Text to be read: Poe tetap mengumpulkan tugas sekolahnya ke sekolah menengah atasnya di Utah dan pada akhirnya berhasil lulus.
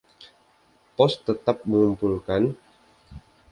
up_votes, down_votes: 0, 2